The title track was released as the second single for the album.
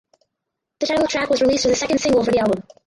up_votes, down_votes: 0, 4